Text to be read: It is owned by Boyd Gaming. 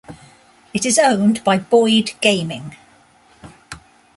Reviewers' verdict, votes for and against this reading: accepted, 2, 0